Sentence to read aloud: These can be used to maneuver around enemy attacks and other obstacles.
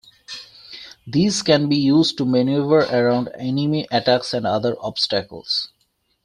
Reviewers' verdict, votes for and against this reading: accepted, 2, 1